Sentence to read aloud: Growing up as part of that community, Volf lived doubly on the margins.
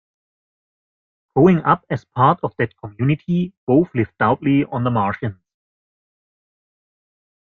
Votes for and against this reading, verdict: 1, 2, rejected